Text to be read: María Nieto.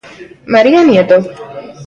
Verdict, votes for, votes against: accepted, 3, 0